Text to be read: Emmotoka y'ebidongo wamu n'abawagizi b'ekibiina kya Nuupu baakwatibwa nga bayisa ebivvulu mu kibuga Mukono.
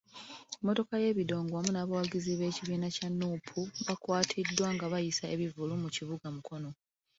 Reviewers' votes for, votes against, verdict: 2, 1, accepted